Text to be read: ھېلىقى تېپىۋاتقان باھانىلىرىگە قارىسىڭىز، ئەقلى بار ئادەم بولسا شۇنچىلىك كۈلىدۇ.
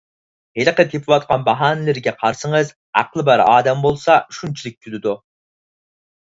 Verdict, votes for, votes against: accepted, 4, 0